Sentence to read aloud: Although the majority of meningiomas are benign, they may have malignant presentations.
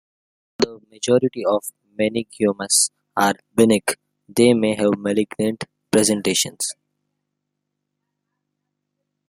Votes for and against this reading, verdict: 0, 2, rejected